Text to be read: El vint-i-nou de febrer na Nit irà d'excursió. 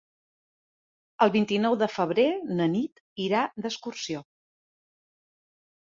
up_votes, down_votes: 3, 0